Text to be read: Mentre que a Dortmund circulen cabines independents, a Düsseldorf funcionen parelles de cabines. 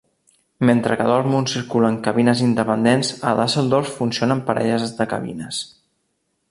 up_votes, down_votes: 0, 2